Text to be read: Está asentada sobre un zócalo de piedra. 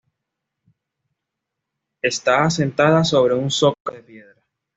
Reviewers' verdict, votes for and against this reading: rejected, 1, 2